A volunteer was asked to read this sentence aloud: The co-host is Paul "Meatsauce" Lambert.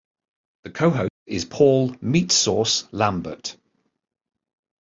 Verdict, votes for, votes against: rejected, 0, 2